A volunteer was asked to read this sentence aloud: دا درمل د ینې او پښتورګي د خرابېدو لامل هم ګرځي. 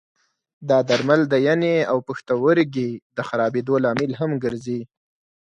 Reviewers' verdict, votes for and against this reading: accepted, 4, 0